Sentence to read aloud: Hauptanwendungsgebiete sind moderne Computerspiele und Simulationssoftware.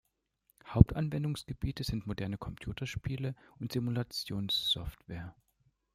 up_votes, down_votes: 1, 2